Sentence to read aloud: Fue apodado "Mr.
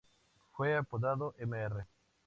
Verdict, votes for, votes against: accepted, 2, 0